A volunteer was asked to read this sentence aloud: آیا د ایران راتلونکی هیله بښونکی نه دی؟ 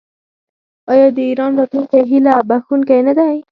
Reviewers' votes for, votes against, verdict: 4, 2, accepted